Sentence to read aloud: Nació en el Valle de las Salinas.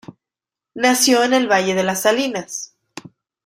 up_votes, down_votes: 2, 0